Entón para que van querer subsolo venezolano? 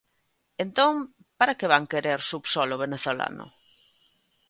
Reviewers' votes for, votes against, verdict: 2, 0, accepted